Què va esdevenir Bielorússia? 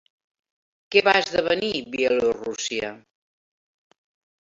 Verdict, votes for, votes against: accepted, 3, 1